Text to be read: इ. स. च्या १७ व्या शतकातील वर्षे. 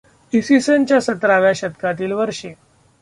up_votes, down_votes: 0, 2